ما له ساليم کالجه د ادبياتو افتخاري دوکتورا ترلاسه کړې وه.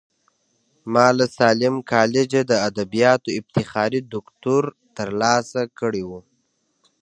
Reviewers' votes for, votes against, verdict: 2, 0, accepted